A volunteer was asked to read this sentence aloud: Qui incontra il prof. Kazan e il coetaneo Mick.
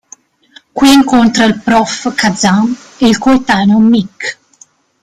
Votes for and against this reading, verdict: 1, 2, rejected